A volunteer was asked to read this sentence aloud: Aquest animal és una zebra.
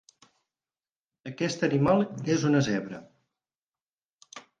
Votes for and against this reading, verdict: 6, 0, accepted